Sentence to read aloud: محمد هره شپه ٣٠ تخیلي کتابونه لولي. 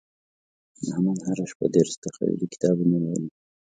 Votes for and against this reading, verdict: 0, 2, rejected